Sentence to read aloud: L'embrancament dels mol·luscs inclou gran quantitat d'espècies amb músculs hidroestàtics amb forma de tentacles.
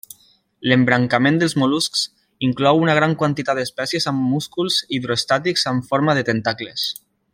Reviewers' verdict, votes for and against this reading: rejected, 0, 2